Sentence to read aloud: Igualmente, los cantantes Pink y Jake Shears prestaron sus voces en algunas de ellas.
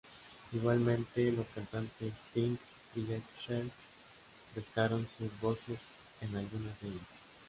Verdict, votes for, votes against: rejected, 0, 2